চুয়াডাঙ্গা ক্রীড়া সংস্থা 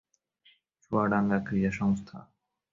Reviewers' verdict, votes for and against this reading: accepted, 4, 0